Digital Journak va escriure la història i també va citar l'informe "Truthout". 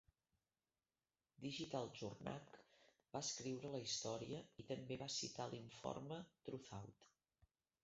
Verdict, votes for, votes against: rejected, 0, 2